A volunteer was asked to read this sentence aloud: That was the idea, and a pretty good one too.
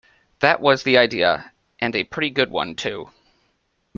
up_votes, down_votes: 2, 0